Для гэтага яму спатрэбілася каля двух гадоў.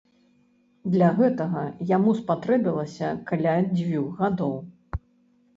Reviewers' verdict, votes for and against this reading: rejected, 1, 2